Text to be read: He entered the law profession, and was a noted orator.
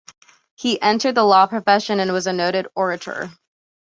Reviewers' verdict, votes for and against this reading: accepted, 2, 0